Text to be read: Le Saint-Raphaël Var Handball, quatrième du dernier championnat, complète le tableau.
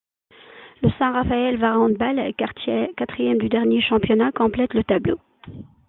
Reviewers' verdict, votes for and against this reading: rejected, 1, 2